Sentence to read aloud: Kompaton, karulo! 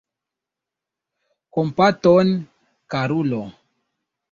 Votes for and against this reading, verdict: 2, 0, accepted